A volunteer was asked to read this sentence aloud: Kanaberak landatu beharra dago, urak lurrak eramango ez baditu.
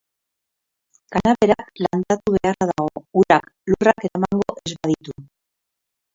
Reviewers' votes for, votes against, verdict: 0, 2, rejected